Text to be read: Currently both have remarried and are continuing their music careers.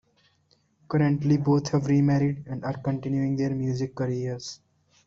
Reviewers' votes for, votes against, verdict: 0, 2, rejected